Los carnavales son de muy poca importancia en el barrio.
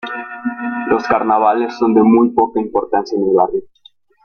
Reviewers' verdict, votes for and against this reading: rejected, 1, 3